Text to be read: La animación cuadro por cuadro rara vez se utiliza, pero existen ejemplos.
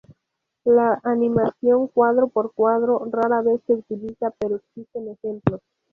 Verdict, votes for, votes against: accepted, 2, 0